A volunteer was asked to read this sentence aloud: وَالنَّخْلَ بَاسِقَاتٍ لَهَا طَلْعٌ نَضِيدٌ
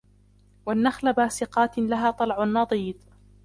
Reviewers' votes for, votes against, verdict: 0, 2, rejected